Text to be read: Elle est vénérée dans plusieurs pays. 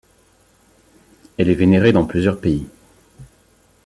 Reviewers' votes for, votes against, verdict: 2, 0, accepted